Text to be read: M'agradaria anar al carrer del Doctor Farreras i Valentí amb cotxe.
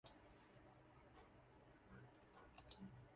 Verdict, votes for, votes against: rejected, 0, 2